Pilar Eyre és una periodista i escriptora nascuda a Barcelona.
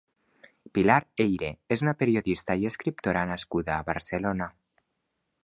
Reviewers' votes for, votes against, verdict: 2, 0, accepted